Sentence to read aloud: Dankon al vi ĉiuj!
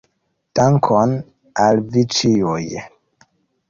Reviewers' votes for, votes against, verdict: 0, 2, rejected